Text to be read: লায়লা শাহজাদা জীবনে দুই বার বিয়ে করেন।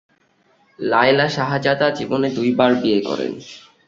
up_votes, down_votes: 6, 0